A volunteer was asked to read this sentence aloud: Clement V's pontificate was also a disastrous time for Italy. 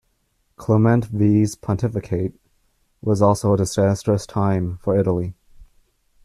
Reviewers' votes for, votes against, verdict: 0, 2, rejected